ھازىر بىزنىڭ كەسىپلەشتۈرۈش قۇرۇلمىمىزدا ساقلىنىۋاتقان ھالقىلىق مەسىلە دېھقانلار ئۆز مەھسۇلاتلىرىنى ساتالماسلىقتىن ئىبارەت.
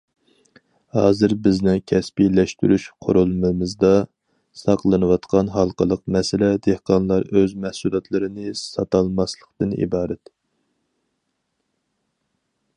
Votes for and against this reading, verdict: 2, 2, rejected